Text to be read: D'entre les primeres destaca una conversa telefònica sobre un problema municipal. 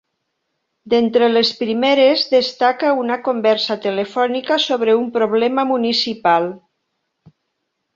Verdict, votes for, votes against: accepted, 4, 0